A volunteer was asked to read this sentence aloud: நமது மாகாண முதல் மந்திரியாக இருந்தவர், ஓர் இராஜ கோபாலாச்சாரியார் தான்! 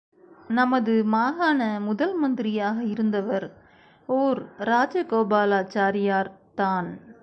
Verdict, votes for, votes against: accepted, 3, 0